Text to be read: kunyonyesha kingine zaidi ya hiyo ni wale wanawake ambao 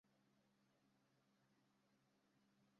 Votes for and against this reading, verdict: 0, 2, rejected